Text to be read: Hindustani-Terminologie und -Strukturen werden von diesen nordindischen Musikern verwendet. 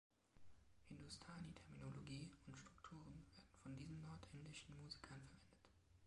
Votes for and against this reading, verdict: 1, 2, rejected